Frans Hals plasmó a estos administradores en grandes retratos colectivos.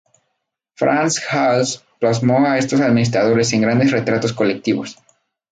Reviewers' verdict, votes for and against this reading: accepted, 2, 0